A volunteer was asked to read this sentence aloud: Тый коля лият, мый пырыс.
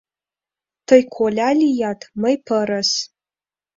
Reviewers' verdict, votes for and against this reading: accepted, 2, 0